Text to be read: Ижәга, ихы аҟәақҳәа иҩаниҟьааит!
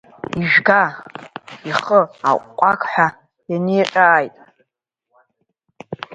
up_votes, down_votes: 1, 2